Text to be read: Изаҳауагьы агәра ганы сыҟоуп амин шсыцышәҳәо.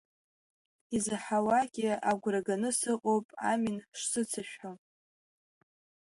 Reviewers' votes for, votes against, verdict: 3, 0, accepted